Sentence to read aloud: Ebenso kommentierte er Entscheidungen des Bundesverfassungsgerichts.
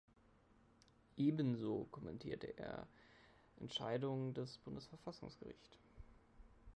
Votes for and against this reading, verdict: 0, 2, rejected